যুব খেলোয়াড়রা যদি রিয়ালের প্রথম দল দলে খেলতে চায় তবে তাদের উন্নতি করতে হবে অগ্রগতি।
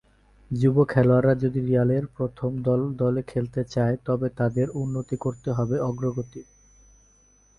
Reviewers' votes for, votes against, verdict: 2, 0, accepted